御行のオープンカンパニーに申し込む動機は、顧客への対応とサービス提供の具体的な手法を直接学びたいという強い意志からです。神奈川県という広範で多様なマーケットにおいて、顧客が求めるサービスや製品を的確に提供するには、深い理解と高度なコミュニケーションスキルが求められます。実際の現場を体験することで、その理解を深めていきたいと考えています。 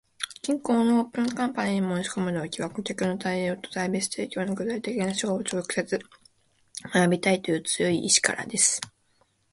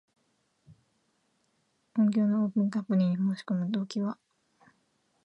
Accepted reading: first